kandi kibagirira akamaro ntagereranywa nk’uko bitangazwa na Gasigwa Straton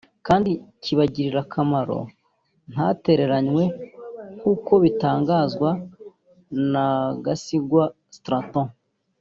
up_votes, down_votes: 3, 4